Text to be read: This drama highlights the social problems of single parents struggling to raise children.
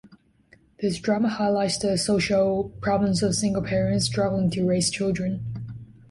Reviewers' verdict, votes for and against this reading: accepted, 2, 1